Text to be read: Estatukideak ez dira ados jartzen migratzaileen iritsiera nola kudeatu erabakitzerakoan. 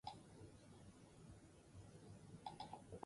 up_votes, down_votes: 0, 4